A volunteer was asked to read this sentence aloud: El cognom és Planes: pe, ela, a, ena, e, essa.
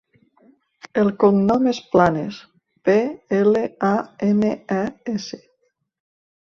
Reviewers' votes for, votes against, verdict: 0, 2, rejected